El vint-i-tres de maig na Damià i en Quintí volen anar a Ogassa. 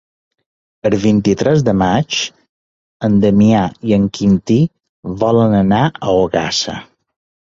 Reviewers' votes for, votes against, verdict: 0, 2, rejected